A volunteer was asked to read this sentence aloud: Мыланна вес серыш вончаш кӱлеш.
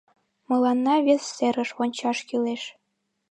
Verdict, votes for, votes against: rejected, 1, 2